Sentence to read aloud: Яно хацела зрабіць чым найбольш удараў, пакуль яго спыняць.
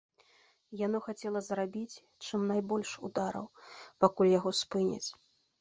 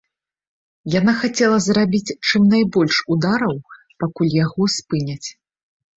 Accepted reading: first